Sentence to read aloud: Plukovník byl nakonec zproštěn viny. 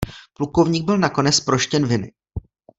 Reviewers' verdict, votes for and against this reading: accepted, 2, 0